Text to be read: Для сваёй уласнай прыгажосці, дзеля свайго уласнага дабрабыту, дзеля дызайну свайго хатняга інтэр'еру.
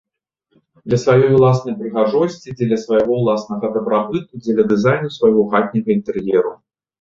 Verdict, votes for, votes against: accepted, 2, 0